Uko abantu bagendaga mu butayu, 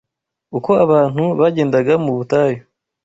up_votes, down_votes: 2, 0